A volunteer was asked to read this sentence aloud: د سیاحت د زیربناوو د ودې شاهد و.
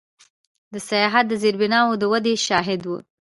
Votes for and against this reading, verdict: 2, 0, accepted